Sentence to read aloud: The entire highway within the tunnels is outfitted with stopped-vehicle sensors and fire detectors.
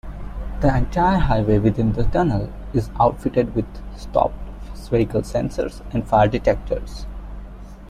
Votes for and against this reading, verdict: 2, 1, accepted